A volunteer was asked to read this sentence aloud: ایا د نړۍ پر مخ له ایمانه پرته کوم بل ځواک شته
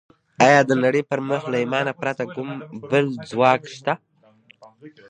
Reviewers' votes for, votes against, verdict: 2, 0, accepted